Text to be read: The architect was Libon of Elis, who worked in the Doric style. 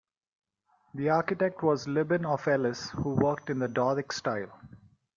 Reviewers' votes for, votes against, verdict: 1, 2, rejected